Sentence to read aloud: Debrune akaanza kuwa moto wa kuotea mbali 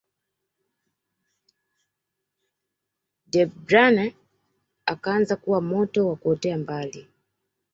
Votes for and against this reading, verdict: 1, 2, rejected